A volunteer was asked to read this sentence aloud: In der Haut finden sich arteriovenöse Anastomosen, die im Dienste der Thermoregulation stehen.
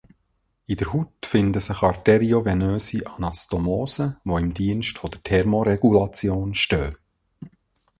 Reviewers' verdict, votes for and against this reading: rejected, 0, 2